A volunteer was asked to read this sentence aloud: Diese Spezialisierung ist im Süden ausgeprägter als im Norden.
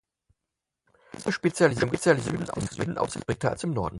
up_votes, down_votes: 0, 4